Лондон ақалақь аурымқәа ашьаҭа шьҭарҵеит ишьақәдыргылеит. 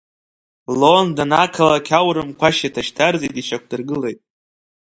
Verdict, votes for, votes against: accepted, 2, 0